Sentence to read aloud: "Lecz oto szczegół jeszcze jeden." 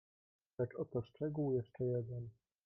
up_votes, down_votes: 0, 2